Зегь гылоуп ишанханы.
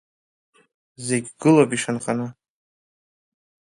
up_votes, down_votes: 2, 0